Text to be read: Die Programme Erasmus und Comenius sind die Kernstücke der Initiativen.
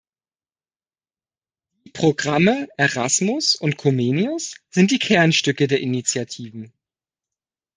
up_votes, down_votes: 1, 2